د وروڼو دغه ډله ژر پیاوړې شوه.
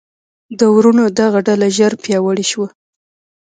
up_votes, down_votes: 0, 2